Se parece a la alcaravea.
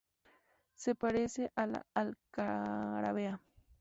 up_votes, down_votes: 2, 0